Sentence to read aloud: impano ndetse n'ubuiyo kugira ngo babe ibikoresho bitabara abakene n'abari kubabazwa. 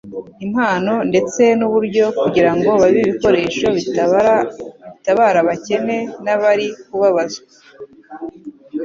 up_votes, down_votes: 1, 2